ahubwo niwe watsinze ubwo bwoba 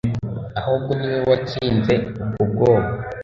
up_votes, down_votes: 2, 0